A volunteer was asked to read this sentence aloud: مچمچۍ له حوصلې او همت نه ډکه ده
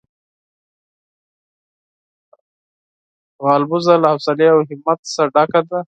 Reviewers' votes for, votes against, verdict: 0, 4, rejected